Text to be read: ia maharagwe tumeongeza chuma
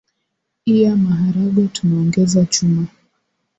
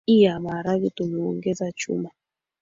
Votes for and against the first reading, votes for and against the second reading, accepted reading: 5, 0, 1, 3, first